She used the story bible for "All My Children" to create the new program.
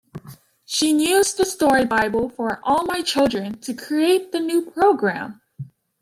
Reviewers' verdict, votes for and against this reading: rejected, 1, 2